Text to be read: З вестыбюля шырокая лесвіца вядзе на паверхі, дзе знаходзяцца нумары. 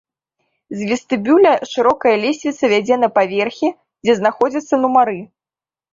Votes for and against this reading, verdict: 2, 1, accepted